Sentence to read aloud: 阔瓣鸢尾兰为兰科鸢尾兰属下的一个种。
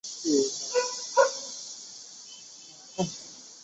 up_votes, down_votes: 1, 2